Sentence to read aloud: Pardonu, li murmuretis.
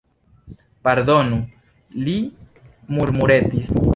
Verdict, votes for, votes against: accepted, 2, 0